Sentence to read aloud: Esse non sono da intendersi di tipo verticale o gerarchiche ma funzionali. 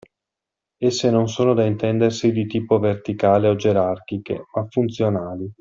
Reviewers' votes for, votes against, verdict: 2, 0, accepted